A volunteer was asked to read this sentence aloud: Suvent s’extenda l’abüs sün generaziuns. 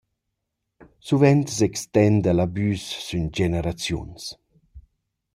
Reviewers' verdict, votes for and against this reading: rejected, 1, 2